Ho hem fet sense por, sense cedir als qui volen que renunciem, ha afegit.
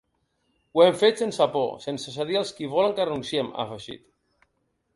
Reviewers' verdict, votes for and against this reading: rejected, 1, 2